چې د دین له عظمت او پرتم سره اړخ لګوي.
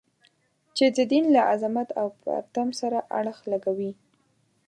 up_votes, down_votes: 2, 0